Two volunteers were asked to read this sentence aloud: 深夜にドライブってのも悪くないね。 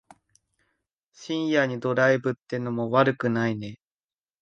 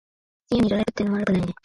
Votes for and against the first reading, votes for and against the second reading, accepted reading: 2, 0, 1, 2, first